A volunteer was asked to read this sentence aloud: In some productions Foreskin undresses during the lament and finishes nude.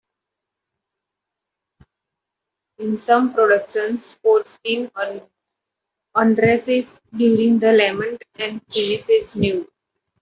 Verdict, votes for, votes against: accepted, 2, 0